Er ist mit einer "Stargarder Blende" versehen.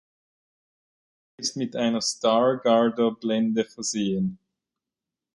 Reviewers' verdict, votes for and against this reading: rejected, 0, 2